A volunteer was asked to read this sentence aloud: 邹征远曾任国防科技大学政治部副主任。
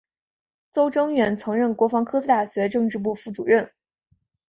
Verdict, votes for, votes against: accepted, 2, 1